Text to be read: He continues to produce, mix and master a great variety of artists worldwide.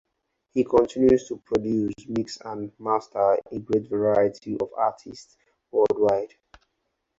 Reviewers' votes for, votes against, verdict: 0, 2, rejected